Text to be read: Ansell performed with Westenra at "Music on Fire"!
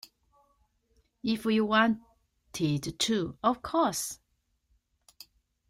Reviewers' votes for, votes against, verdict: 0, 2, rejected